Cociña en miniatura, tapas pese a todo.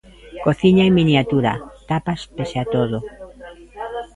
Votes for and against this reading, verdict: 1, 2, rejected